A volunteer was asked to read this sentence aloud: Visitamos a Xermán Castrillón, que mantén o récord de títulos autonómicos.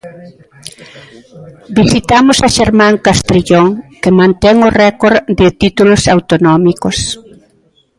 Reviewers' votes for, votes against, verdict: 2, 0, accepted